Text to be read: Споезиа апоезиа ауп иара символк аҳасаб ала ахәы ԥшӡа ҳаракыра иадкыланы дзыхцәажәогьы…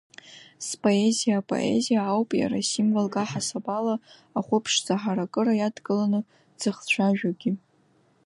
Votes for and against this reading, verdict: 2, 0, accepted